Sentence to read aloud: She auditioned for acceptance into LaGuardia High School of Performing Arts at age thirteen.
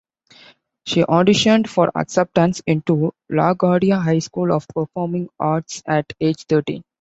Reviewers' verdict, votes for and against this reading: accepted, 2, 0